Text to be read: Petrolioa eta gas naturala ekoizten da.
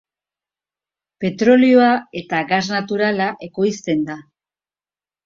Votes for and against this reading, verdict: 3, 0, accepted